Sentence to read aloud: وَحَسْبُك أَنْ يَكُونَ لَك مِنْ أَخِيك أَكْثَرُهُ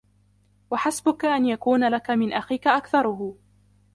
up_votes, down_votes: 0, 2